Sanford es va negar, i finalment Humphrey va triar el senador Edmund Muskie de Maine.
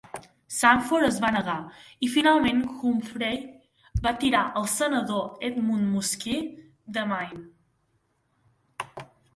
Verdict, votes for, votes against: rejected, 0, 2